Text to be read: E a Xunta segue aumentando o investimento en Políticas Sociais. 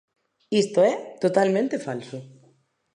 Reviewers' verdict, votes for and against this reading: rejected, 0, 2